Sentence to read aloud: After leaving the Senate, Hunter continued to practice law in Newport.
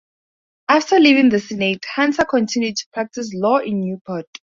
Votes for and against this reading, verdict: 2, 4, rejected